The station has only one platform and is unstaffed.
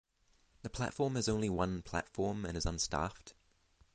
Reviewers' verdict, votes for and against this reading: rejected, 0, 3